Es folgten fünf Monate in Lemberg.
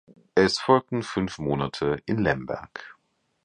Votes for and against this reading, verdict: 2, 0, accepted